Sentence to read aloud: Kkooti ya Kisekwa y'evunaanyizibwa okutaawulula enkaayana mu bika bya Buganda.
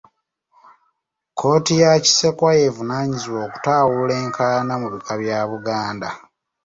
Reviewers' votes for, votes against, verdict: 2, 0, accepted